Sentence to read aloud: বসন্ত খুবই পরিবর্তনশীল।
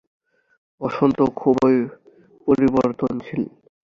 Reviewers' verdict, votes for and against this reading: rejected, 0, 2